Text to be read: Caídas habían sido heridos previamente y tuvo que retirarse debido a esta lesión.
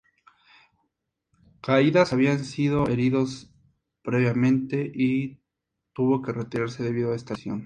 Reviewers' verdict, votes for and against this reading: accepted, 2, 0